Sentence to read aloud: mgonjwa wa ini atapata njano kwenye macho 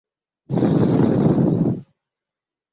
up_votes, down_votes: 0, 2